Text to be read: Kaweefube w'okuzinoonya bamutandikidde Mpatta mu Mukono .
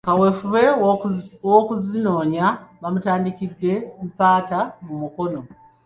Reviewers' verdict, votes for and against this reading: accepted, 2, 0